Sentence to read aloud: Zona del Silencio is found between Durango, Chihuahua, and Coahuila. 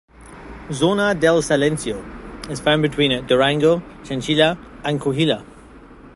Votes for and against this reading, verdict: 1, 2, rejected